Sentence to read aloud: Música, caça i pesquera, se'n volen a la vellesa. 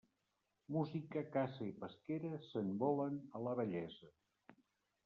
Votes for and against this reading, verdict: 0, 2, rejected